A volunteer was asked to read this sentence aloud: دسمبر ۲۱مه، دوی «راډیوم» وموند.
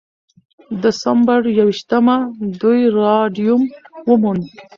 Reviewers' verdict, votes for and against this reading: rejected, 0, 2